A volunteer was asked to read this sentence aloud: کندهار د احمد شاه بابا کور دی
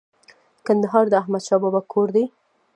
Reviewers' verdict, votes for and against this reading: rejected, 0, 2